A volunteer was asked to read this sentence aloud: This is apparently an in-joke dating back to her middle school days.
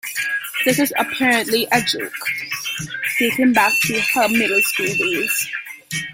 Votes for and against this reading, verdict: 0, 2, rejected